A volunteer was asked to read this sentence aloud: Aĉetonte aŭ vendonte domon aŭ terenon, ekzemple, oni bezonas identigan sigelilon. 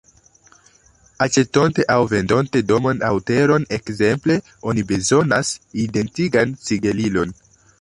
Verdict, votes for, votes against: accepted, 2, 0